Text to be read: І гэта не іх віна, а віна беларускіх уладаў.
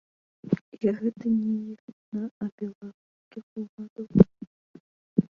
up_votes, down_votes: 1, 2